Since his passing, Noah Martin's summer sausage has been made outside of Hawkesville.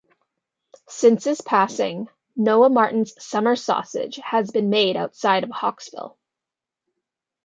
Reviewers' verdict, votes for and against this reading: accepted, 3, 0